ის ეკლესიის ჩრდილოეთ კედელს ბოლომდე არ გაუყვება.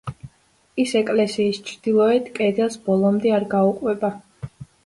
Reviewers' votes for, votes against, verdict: 2, 0, accepted